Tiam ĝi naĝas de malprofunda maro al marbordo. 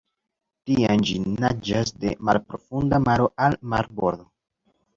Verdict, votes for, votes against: accepted, 2, 0